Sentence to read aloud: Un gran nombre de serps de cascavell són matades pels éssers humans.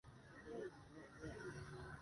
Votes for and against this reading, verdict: 1, 2, rejected